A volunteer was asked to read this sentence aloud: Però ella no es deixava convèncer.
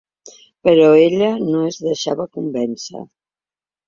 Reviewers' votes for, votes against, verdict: 3, 0, accepted